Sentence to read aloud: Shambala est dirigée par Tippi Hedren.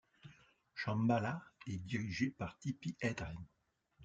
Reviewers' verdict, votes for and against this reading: accepted, 2, 0